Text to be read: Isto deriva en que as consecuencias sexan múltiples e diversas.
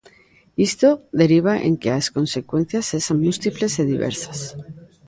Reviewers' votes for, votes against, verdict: 0, 2, rejected